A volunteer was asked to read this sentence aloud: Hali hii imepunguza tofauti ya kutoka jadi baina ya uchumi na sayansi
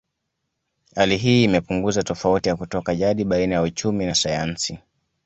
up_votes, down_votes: 2, 0